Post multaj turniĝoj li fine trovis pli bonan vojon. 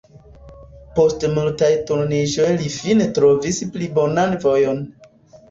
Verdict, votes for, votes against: rejected, 0, 2